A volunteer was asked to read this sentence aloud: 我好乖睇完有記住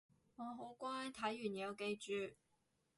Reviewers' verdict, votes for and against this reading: accepted, 4, 0